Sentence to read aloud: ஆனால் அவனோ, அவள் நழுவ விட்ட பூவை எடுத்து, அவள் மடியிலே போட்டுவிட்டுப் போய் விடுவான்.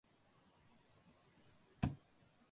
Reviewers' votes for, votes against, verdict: 0, 2, rejected